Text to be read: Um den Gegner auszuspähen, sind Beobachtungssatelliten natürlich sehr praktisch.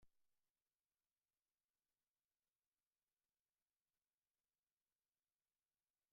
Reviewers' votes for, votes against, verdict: 0, 2, rejected